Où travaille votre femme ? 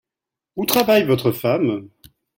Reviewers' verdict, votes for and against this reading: accepted, 2, 0